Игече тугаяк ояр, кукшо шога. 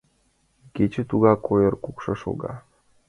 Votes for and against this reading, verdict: 1, 2, rejected